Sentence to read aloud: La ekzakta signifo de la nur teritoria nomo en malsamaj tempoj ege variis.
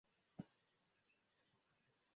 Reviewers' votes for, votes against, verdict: 0, 3, rejected